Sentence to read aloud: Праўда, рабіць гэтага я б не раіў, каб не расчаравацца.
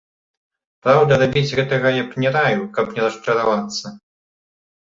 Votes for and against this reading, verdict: 1, 2, rejected